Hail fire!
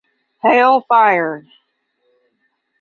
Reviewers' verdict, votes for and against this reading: accepted, 5, 0